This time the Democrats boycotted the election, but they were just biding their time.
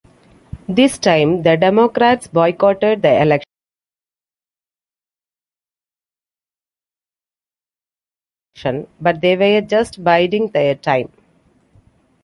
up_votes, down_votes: 1, 2